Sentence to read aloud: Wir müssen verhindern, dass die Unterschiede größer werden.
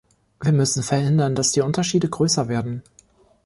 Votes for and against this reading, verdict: 2, 0, accepted